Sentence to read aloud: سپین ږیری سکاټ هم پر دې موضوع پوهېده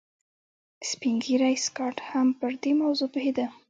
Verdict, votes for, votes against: accepted, 2, 1